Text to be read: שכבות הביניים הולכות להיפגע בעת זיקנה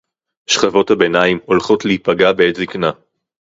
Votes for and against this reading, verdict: 4, 0, accepted